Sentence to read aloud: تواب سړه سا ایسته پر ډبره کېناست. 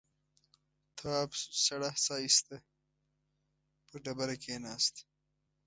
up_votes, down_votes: 1, 3